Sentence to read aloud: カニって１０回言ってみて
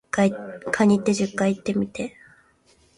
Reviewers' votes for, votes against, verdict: 0, 2, rejected